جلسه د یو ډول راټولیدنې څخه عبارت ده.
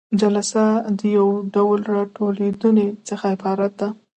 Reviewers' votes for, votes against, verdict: 1, 2, rejected